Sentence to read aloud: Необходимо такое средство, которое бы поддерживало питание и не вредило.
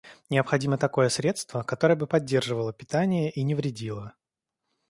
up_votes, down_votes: 2, 0